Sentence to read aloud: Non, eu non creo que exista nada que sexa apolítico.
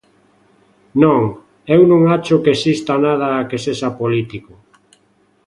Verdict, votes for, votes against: rejected, 0, 2